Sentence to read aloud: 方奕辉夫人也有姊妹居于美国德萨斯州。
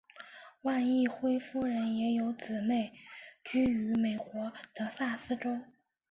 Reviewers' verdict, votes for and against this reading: accepted, 2, 0